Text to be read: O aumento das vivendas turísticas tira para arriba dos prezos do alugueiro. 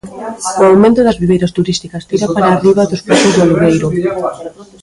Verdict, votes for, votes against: rejected, 0, 2